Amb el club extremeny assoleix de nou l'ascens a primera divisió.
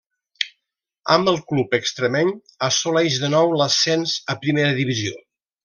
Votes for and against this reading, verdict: 2, 0, accepted